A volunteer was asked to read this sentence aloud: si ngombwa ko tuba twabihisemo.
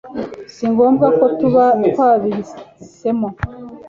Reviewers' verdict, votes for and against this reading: accepted, 2, 0